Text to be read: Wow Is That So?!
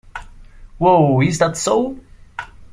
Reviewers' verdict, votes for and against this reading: accepted, 2, 0